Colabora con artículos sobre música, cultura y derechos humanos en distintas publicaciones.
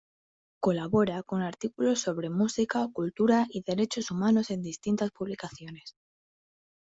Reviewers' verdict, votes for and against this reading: rejected, 0, 2